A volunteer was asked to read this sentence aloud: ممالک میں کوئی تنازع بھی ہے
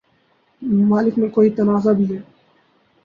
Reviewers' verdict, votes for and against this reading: rejected, 0, 2